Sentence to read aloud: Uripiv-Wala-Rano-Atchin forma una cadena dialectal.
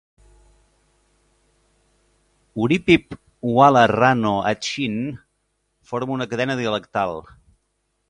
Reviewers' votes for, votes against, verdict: 2, 0, accepted